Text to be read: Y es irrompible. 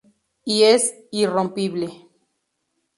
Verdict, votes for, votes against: accepted, 2, 0